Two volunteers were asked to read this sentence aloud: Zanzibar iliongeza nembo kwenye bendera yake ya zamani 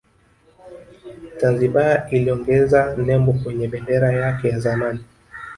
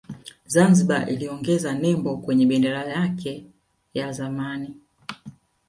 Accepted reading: second